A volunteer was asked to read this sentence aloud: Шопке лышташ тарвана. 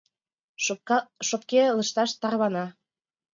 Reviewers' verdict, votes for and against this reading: rejected, 1, 2